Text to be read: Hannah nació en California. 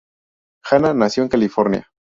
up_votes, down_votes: 2, 0